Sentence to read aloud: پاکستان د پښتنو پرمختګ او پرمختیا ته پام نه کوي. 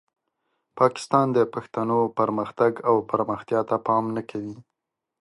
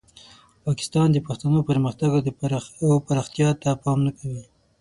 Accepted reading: first